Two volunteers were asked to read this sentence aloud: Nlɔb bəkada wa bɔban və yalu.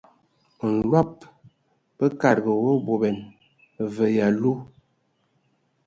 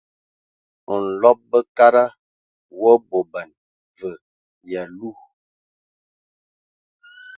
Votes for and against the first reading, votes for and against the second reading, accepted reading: 0, 2, 2, 0, second